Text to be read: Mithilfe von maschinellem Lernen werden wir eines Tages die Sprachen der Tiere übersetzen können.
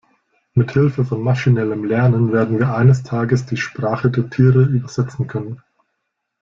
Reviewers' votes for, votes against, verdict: 0, 2, rejected